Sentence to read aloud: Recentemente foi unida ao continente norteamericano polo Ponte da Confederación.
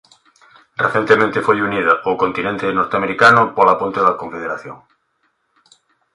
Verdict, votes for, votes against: accepted, 3, 0